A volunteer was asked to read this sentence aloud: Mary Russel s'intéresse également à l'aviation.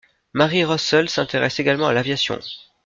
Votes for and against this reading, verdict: 2, 0, accepted